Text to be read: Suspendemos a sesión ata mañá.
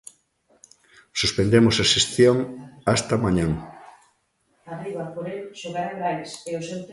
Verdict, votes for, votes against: rejected, 0, 2